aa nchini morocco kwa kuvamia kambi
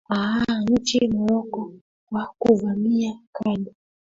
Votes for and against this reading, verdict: 0, 2, rejected